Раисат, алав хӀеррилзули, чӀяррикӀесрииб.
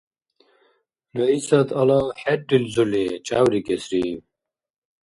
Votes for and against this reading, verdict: 1, 2, rejected